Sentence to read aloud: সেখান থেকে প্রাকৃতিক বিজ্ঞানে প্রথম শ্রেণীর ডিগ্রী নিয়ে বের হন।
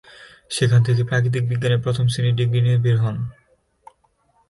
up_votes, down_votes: 6, 1